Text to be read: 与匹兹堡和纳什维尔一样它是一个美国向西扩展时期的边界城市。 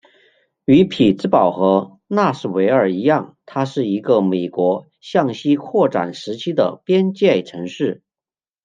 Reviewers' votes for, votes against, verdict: 2, 1, accepted